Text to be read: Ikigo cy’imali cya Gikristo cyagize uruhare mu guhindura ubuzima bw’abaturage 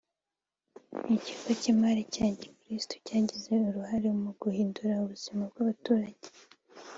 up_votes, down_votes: 4, 0